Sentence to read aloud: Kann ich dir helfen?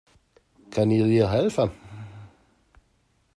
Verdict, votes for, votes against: rejected, 0, 2